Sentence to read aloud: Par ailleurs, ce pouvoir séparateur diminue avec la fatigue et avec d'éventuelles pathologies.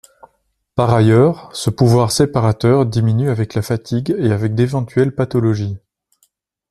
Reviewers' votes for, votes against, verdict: 2, 0, accepted